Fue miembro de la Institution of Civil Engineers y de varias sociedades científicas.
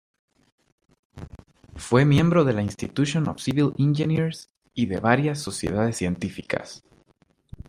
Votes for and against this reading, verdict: 2, 0, accepted